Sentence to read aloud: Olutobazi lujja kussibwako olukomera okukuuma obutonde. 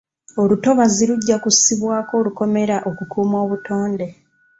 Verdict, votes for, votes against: accepted, 2, 0